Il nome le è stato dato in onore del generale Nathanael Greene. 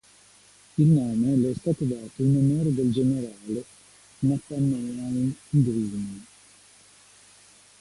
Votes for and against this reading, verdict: 1, 2, rejected